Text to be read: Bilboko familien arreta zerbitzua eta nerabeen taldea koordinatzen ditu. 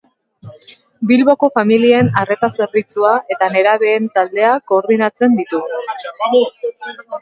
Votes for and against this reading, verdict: 2, 3, rejected